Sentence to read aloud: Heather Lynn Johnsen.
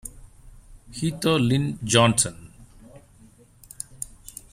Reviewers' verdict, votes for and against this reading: rejected, 0, 2